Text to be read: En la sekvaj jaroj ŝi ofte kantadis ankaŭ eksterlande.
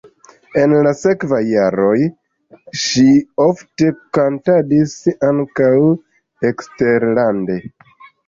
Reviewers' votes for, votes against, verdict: 1, 2, rejected